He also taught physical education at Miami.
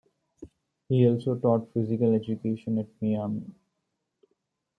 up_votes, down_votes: 2, 0